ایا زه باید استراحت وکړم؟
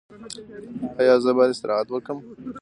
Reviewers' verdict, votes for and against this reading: accepted, 2, 1